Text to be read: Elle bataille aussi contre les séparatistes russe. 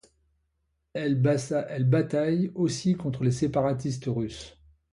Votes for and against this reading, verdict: 0, 2, rejected